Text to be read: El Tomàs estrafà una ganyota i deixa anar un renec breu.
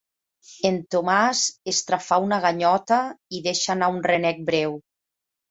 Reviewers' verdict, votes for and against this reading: rejected, 1, 2